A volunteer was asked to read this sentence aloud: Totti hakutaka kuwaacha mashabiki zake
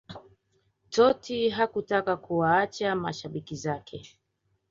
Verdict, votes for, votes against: accepted, 2, 0